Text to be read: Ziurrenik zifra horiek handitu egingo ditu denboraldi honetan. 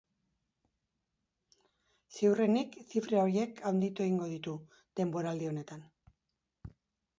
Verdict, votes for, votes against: accepted, 2, 1